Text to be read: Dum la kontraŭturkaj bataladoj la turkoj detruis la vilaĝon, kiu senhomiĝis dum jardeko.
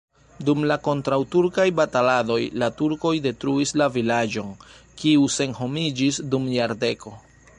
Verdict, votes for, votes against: rejected, 1, 2